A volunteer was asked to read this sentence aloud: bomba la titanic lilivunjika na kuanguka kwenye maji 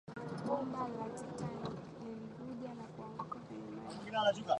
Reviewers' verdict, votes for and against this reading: rejected, 0, 2